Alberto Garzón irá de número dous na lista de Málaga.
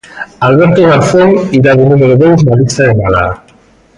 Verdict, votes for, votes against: rejected, 0, 2